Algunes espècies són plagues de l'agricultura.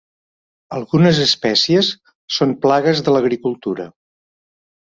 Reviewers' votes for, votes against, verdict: 4, 0, accepted